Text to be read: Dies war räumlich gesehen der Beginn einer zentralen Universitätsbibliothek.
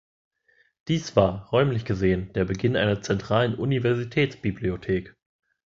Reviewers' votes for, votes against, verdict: 2, 0, accepted